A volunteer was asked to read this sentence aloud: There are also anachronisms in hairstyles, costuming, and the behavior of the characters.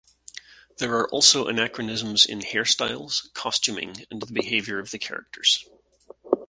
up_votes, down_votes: 2, 0